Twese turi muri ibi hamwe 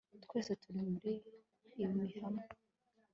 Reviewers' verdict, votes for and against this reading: accepted, 2, 0